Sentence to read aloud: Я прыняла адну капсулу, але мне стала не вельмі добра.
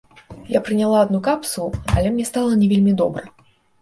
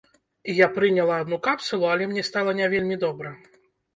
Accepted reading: first